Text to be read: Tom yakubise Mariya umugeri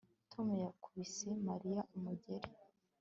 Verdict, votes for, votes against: accepted, 2, 0